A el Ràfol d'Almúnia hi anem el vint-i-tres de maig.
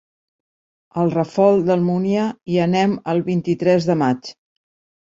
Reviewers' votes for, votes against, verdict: 2, 0, accepted